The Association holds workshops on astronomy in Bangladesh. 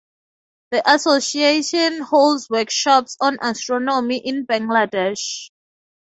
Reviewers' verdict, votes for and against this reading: accepted, 4, 0